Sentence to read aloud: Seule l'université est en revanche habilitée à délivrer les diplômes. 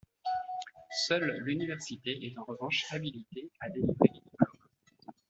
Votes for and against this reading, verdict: 0, 2, rejected